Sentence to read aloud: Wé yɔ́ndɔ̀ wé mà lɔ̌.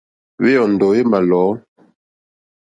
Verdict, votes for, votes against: accepted, 3, 0